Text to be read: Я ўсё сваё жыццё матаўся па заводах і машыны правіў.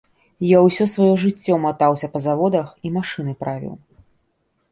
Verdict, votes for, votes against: accepted, 2, 0